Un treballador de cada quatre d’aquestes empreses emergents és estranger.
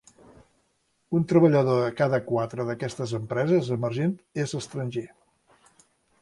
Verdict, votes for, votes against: rejected, 1, 2